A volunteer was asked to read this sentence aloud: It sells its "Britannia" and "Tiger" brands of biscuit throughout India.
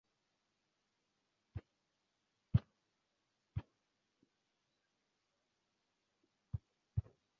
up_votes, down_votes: 0, 2